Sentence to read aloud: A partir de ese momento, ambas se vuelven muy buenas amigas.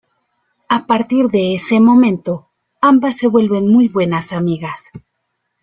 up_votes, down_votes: 2, 0